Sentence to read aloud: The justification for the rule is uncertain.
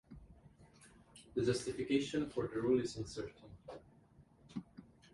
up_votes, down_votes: 2, 1